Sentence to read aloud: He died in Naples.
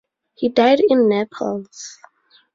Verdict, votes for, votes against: rejected, 0, 2